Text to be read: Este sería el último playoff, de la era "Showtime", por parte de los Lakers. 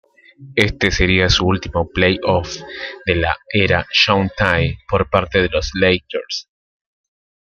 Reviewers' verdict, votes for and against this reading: accepted, 2, 1